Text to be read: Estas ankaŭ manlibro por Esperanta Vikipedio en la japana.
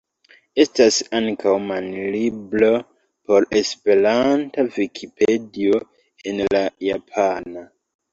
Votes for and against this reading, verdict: 1, 2, rejected